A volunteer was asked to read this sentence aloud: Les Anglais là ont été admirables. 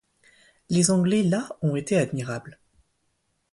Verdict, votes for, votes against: accepted, 2, 0